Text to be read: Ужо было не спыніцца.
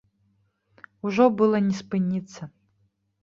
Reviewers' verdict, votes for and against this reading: rejected, 0, 2